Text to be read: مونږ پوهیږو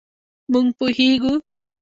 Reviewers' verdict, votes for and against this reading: rejected, 0, 2